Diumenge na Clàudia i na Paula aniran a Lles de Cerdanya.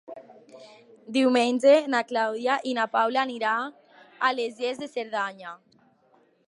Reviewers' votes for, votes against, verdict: 0, 2, rejected